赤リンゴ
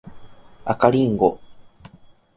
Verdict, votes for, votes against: accepted, 2, 0